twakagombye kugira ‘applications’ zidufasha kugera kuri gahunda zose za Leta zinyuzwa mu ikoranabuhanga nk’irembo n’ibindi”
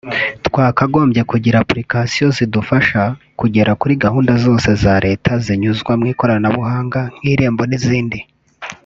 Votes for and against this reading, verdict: 0, 2, rejected